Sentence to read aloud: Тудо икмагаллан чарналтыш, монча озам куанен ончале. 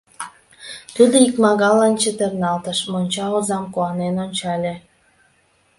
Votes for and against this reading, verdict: 0, 2, rejected